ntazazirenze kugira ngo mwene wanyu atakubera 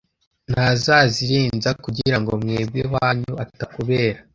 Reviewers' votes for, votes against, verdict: 0, 2, rejected